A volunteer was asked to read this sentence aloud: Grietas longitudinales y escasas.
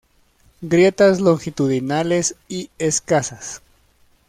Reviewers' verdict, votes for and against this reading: accepted, 2, 0